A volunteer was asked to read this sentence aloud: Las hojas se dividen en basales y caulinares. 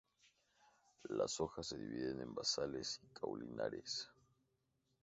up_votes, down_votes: 2, 0